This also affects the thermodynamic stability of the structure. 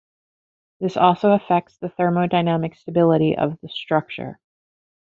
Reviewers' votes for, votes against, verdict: 2, 0, accepted